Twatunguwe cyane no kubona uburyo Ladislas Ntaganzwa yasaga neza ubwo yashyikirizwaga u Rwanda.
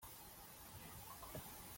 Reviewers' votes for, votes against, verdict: 0, 2, rejected